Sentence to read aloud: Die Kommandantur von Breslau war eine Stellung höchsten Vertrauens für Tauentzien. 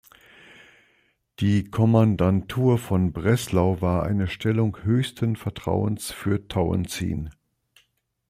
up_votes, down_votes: 3, 0